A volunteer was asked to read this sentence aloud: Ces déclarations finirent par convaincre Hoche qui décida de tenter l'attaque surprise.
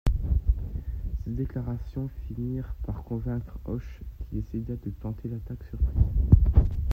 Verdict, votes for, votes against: rejected, 1, 2